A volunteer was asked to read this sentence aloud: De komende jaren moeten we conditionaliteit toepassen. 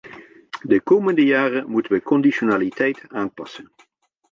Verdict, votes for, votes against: rejected, 0, 2